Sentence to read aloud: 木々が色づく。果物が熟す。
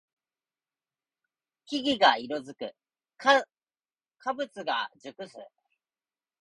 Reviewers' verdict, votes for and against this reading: rejected, 0, 2